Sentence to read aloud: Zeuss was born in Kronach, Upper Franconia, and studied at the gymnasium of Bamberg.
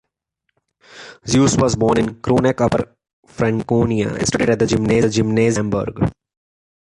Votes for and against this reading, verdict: 1, 2, rejected